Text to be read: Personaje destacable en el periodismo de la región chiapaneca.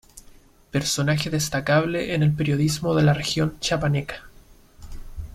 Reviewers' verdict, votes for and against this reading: accepted, 2, 0